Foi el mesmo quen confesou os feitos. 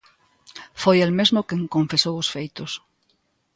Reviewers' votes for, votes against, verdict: 2, 0, accepted